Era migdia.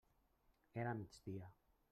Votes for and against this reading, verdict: 0, 2, rejected